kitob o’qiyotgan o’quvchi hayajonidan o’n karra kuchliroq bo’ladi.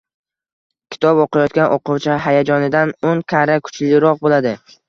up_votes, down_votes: 1, 2